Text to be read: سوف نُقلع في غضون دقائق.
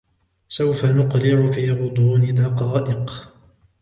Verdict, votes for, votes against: accepted, 2, 0